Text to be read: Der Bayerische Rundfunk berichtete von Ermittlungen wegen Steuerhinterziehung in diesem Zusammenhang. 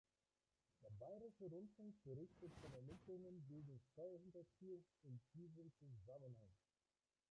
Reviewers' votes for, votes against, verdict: 0, 2, rejected